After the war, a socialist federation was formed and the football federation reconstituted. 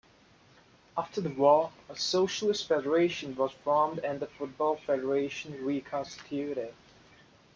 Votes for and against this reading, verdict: 2, 0, accepted